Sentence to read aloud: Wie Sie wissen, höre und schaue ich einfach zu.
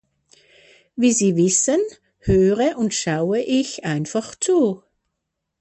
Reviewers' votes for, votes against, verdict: 2, 0, accepted